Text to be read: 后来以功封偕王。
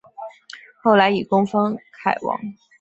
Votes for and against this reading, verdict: 2, 0, accepted